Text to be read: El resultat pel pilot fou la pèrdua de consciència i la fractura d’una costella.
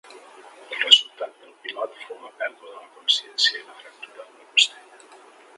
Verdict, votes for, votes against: rejected, 0, 3